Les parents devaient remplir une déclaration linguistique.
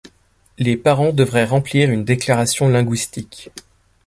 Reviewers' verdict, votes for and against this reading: rejected, 1, 2